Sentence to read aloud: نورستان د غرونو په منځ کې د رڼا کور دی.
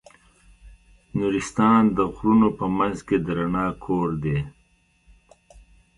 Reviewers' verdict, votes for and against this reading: accepted, 2, 0